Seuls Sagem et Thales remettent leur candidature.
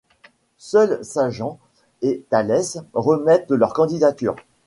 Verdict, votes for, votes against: rejected, 1, 2